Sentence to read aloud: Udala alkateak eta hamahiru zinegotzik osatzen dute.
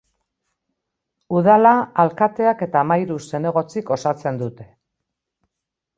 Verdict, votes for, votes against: accepted, 3, 0